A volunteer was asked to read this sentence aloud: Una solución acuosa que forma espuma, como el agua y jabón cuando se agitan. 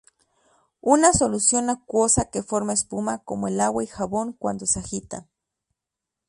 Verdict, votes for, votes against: accepted, 2, 0